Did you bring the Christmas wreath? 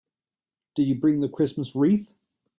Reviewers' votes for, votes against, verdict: 2, 0, accepted